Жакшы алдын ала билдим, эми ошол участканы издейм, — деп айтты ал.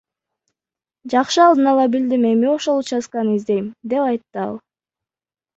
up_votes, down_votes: 2, 1